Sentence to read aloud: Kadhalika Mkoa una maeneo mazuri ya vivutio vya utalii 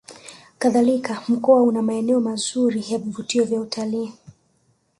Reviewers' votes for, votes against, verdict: 4, 0, accepted